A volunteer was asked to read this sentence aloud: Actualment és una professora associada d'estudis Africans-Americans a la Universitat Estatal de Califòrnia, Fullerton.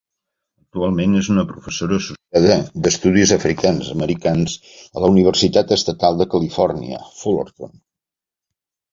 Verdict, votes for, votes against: rejected, 1, 2